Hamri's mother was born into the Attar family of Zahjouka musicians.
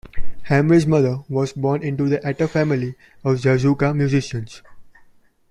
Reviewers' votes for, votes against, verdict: 2, 1, accepted